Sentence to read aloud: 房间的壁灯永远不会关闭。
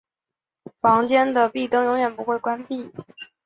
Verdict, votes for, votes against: accepted, 3, 0